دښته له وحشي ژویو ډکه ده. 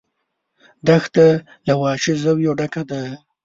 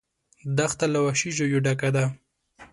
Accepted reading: second